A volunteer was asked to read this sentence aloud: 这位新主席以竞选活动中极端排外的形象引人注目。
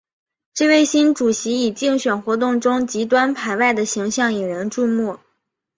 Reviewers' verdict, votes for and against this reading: accepted, 2, 0